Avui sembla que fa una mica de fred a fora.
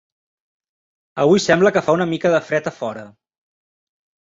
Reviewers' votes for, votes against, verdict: 3, 1, accepted